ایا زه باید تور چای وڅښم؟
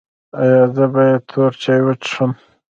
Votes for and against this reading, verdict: 1, 2, rejected